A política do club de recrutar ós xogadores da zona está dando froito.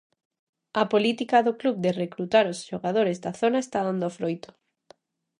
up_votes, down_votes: 2, 0